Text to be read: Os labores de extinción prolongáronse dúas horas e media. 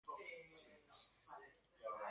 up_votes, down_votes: 0, 2